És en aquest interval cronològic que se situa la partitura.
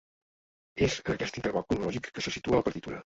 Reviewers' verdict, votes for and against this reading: rejected, 0, 2